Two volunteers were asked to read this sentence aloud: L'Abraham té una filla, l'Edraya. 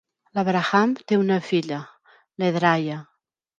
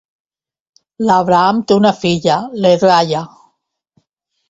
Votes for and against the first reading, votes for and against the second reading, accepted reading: 0, 2, 2, 0, second